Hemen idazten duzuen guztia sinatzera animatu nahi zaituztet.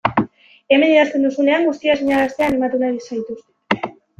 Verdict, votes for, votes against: rejected, 0, 2